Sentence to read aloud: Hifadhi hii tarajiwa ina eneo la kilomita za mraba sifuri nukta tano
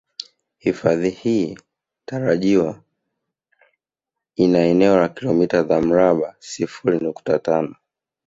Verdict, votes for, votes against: accepted, 2, 0